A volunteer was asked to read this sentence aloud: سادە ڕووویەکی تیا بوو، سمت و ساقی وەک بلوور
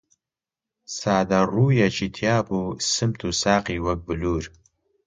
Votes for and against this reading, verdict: 2, 0, accepted